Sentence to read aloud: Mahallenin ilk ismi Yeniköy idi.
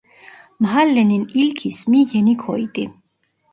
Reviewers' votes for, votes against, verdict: 1, 2, rejected